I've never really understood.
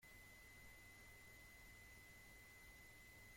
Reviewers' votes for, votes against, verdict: 0, 2, rejected